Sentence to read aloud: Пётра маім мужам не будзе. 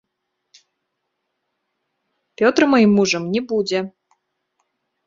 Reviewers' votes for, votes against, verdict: 1, 2, rejected